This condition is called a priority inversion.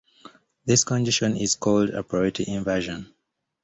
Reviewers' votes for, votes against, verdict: 2, 0, accepted